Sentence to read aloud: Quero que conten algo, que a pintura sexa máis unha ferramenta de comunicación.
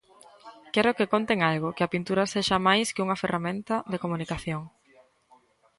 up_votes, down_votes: 2, 0